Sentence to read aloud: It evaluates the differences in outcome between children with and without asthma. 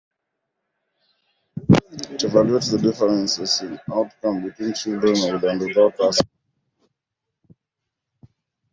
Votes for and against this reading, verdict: 0, 2, rejected